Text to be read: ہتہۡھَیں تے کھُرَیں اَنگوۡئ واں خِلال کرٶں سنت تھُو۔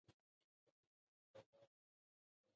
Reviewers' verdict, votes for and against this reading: rejected, 0, 2